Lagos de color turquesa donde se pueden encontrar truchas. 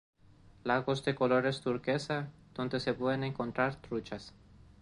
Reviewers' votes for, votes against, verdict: 0, 2, rejected